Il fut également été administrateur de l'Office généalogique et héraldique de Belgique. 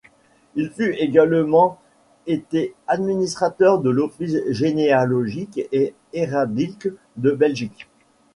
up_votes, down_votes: 0, 2